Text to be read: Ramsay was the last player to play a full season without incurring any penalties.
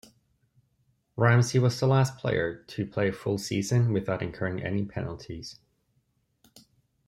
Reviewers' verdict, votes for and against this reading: accepted, 2, 0